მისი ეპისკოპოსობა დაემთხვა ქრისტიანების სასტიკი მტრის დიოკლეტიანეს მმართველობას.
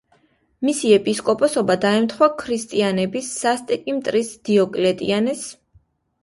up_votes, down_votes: 0, 2